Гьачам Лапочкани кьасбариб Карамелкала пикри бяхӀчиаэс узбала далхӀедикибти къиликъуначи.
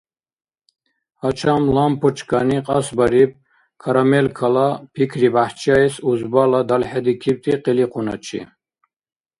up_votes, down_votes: 0, 2